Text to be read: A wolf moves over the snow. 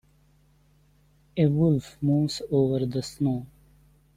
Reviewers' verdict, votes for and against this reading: accepted, 2, 0